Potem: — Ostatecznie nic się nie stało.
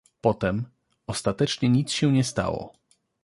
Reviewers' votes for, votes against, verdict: 2, 0, accepted